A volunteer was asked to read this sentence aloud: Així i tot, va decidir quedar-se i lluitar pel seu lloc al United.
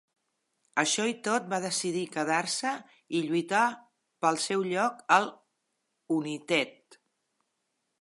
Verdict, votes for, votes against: accepted, 2, 0